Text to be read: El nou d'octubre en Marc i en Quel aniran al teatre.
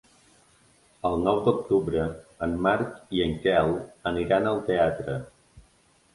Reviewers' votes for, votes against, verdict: 3, 0, accepted